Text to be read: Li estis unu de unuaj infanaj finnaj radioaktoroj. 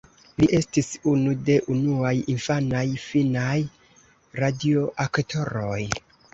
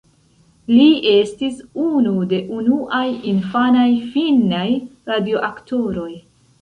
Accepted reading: first